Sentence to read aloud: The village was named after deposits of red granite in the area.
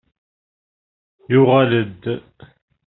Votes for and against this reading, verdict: 0, 2, rejected